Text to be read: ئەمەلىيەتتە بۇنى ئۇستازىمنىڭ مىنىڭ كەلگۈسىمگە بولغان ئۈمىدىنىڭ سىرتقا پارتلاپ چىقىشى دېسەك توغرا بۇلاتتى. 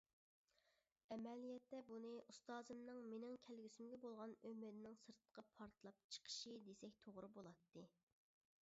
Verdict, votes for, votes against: rejected, 0, 2